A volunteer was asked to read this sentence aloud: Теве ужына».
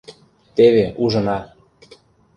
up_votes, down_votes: 2, 0